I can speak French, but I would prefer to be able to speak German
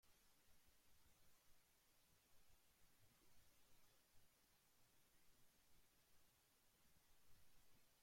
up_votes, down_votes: 0, 2